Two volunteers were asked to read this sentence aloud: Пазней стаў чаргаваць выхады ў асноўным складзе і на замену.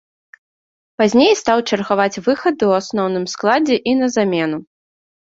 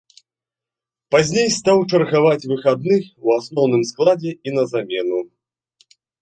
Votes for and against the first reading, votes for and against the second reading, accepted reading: 2, 0, 0, 2, first